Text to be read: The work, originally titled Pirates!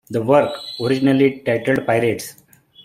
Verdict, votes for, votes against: accepted, 3, 0